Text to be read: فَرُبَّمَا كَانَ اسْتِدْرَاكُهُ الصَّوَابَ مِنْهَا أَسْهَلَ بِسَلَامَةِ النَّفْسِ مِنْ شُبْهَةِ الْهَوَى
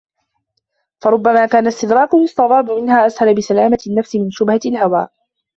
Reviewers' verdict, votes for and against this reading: rejected, 0, 2